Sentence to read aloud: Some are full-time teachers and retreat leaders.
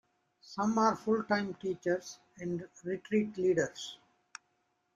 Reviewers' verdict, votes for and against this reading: rejected, 2, 3